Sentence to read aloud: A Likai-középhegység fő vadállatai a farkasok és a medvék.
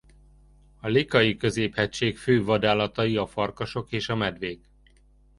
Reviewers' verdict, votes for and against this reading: accepted, 2, 0